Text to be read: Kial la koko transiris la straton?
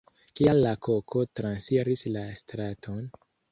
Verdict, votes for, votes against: accepted, 2, 0